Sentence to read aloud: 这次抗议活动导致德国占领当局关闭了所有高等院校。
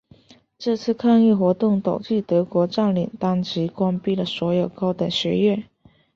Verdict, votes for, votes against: accepted, 2, 0